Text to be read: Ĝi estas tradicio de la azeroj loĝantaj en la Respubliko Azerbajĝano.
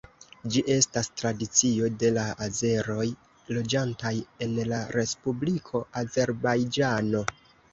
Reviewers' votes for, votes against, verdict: 2, 0, accepted